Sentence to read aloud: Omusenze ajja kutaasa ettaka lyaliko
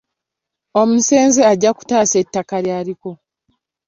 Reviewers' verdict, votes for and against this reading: accepted, 2, 0